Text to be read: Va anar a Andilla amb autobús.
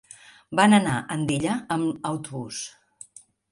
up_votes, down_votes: 0, 2